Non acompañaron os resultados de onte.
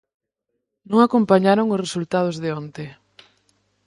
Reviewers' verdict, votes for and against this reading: accepted, 6, 0